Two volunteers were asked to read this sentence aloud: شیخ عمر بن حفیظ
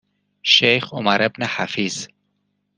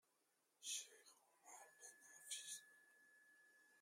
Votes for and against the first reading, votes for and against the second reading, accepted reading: 2, 0, 0, 2, first